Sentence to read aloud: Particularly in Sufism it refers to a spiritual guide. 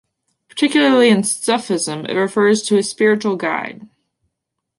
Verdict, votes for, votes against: accepted, 2, 1